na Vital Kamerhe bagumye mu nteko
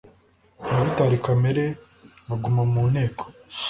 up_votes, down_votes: 1, 2